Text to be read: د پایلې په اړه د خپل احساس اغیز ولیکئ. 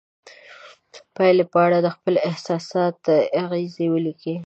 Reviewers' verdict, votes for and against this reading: rejected, 1, 2